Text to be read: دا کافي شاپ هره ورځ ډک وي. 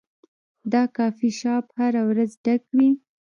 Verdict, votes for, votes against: rejected, 1, 2